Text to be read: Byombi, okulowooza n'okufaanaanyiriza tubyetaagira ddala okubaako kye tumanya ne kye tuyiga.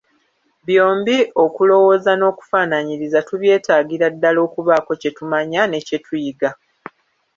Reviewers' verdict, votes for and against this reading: rejected, 1, 2